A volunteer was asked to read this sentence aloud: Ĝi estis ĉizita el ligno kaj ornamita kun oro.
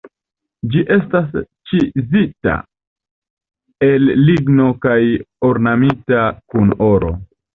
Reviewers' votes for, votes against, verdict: 1, 2, rejected